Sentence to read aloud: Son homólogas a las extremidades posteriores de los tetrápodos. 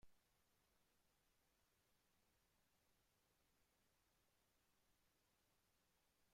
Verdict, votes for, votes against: rejected, 0, 2